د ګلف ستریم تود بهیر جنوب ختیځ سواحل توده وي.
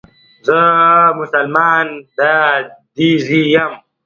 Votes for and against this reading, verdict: 1, 2, rejected